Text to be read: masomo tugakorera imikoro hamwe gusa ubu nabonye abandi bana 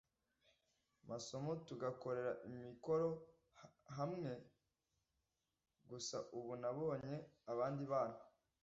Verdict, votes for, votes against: rejected, 1, 2